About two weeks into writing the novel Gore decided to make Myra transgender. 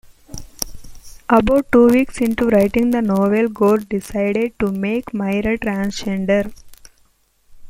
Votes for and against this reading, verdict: 2, 0, accepted